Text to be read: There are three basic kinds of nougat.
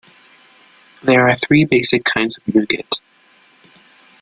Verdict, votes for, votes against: accepted, 2, 0